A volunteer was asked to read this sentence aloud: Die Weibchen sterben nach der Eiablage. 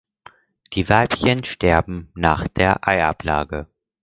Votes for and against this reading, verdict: 4, 0, accepted